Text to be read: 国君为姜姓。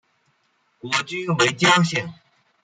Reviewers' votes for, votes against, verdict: 2, 1, accepted